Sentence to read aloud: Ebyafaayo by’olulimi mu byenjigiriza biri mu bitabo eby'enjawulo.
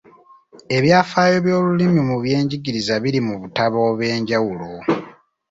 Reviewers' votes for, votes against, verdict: 1, 2, rejected